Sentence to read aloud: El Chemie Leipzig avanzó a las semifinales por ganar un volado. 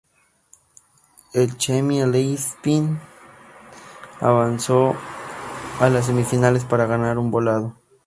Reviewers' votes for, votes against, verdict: 0, 2, rejected